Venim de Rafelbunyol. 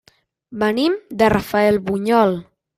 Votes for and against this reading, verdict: 1, 2, rejected